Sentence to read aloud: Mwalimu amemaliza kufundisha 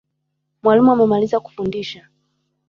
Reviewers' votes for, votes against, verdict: 1, 2, rejected